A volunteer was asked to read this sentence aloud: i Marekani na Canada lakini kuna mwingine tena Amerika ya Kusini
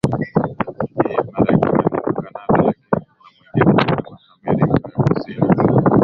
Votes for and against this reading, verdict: 5, 6, rejected